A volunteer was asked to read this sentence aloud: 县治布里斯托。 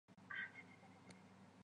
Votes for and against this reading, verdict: 1, 3, rejected